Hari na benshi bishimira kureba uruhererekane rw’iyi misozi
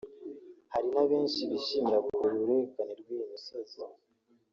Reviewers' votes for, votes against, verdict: 1, 2, rejected